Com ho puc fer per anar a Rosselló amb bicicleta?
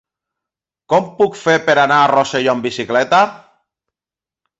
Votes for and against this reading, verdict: 1, 2, rejected